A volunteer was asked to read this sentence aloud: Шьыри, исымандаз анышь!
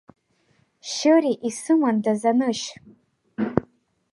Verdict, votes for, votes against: accepted, 2, 0